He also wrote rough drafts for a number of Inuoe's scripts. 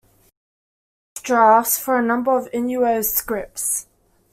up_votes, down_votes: 0, 2